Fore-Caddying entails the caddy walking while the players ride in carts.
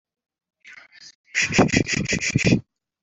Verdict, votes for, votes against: rejected, 0, 2